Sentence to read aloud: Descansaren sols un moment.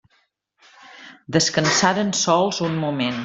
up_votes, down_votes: 1, 2